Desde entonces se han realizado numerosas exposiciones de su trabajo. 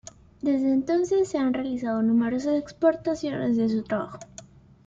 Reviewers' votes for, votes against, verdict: 1, 2, rejected